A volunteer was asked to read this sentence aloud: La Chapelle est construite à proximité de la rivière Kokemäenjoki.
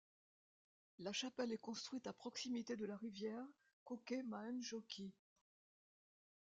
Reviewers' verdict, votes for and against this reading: accepted, 2, 1